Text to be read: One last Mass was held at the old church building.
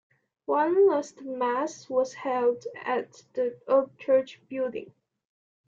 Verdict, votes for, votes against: accepted, 2, 0